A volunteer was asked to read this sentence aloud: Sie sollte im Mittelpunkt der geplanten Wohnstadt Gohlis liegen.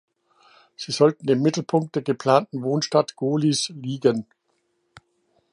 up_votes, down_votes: 1, 2